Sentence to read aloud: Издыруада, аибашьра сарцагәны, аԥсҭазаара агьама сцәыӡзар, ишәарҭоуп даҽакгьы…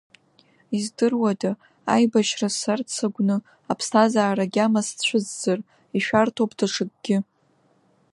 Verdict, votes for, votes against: rejected, 0, 2